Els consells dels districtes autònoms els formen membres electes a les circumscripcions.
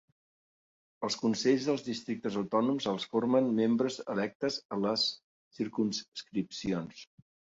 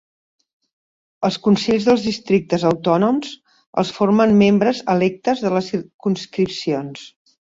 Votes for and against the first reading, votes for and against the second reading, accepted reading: 5, 1, 2, 3, first